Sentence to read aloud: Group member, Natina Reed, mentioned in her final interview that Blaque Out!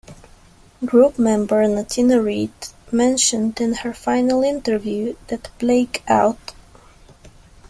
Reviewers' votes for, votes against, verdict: 1, 2, rejected